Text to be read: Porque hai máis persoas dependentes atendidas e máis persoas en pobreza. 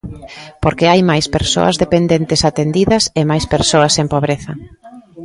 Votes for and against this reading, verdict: 2, 0, accepted